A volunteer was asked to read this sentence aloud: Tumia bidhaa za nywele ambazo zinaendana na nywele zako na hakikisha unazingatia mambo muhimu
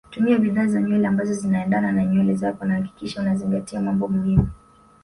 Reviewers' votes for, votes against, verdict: 2, 0, accepted